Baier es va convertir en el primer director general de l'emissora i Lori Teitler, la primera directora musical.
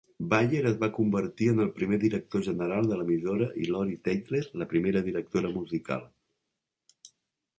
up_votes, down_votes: 1, 3